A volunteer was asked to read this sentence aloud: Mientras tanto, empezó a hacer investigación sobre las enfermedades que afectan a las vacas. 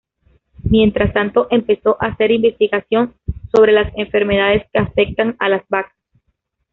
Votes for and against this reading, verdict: 2, 1, accepted